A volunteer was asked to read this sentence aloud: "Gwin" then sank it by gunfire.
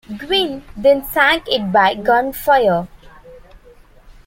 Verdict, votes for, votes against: accepted, 2, 0